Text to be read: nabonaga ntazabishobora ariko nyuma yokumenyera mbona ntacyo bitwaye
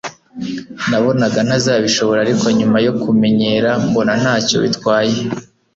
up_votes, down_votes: 2, 0